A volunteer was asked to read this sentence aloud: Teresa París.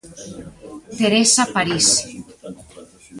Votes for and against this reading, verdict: 1, 2, rejected